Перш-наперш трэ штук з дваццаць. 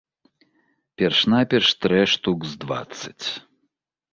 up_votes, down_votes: 2, 0